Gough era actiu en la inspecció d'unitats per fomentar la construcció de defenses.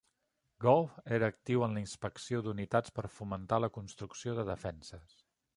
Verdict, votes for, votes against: accepted, 2, 0